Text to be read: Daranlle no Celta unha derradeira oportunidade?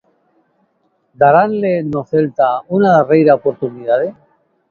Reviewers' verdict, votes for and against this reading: rejected, 0, 2